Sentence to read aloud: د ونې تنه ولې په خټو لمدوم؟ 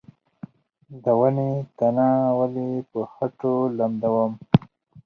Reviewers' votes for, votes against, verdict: 2, 4, rejected